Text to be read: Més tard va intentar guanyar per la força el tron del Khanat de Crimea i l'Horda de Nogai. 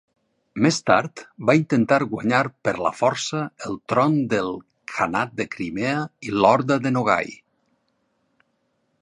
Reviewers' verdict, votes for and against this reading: accepted, 4, 0